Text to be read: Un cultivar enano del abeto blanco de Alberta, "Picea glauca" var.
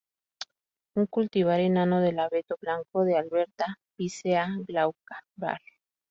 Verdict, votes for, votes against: rejected, 0, 2